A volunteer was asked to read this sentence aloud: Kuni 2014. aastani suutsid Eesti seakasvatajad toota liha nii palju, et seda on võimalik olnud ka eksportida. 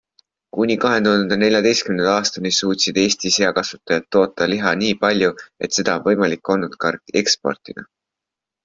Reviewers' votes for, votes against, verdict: 0, 2, rejected